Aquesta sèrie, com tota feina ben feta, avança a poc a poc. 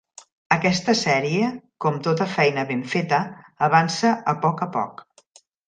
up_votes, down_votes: 3, 0